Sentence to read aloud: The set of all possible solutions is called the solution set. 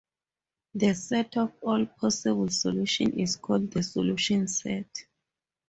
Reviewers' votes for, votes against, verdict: 2, 2, rejected